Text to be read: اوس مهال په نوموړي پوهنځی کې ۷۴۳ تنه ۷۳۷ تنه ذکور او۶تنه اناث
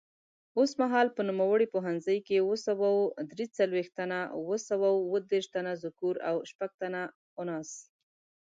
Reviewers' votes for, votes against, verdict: 0, 2, rejected